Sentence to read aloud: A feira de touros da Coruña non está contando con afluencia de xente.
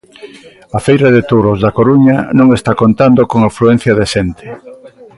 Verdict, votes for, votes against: accepted, 2, 0